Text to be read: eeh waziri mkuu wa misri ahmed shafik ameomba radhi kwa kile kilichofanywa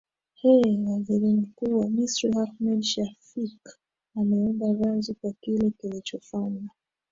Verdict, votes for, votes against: accepted, 7, 5